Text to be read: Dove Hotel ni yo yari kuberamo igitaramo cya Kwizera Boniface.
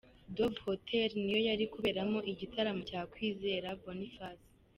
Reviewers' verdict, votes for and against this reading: accepted, 2, 0